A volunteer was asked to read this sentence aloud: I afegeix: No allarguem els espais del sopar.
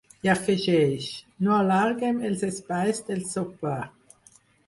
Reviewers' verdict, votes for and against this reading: rejected, 0, 4